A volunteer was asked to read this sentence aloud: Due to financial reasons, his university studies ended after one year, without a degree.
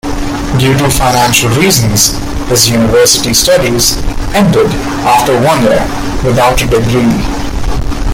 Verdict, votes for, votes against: rejected, 1, 2